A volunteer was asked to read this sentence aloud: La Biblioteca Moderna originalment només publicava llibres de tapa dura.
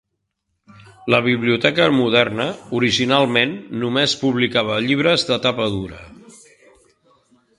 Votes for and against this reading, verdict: 3, 0, accepted